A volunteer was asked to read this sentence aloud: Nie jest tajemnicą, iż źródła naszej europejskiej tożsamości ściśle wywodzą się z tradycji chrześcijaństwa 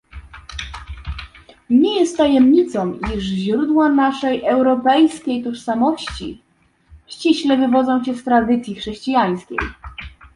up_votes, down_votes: 1, 2